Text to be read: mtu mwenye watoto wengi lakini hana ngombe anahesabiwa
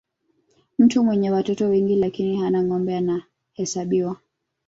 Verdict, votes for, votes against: rejected, 1, 2